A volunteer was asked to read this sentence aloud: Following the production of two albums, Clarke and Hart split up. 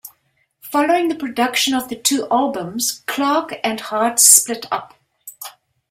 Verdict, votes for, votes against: accepted, 3, 0